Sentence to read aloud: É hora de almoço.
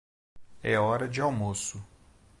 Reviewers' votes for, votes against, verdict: 2, 0, accepted